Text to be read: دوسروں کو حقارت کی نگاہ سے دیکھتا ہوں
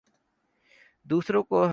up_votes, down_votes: 0, 2